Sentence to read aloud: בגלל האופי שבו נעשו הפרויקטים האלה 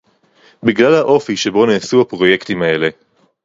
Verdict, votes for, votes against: rejected, 2, 2